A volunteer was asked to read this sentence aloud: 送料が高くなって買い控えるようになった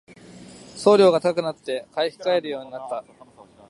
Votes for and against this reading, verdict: 2, 0, accepted